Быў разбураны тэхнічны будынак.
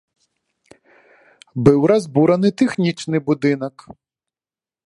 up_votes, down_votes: 2, 0